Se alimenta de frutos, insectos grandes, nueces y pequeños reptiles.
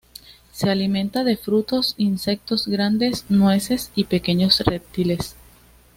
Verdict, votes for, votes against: accepted, 2, 0